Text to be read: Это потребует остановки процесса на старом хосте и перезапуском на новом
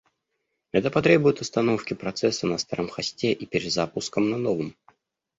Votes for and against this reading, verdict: 1, 2, rejected